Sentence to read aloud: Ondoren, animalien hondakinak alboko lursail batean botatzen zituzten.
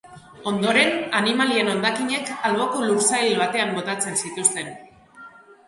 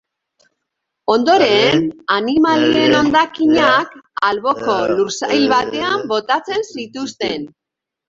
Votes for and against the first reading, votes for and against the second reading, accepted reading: 2, 0, 0, 3, first